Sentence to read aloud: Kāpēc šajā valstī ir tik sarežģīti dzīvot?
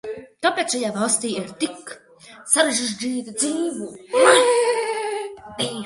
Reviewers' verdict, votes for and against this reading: rejected, 0, 2